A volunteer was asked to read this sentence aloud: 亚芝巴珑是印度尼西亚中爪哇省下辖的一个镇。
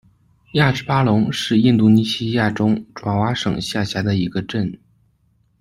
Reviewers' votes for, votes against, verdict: 2, 0, accepted